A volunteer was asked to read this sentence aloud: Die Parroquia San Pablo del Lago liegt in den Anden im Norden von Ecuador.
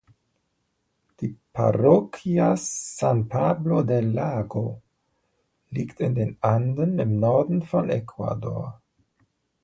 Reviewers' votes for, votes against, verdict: 2, 0, accepted